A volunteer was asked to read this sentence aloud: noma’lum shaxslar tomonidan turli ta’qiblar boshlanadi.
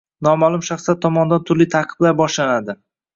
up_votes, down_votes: 1, 2